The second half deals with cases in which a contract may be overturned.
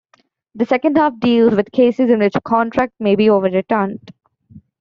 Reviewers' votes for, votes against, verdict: 1, 2, rejected